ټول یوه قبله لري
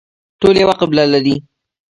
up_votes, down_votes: 3, 0